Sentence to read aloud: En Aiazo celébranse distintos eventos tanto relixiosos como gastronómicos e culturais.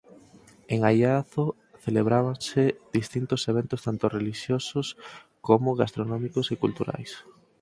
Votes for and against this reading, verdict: 0, 6, rejected